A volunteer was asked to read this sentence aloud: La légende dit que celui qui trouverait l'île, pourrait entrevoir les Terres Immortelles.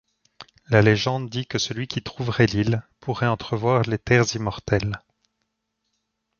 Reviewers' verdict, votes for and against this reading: accepted, 2, 0